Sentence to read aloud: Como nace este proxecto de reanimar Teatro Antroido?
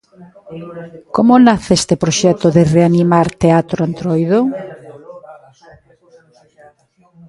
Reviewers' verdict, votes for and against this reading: rejected, 1, 2